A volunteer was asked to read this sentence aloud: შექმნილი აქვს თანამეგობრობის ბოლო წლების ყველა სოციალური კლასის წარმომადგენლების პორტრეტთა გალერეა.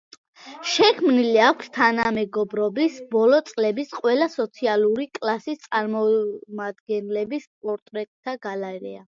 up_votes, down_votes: 1, 2